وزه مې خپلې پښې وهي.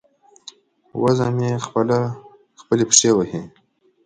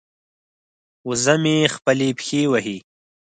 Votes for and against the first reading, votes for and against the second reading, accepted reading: 1, 2, 4, 0, second